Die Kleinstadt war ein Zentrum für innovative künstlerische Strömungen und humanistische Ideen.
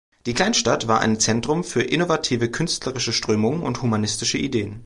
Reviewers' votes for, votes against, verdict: 2, 0, accepted